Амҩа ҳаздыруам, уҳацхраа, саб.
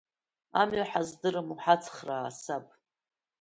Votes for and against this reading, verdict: 2, 0, accepted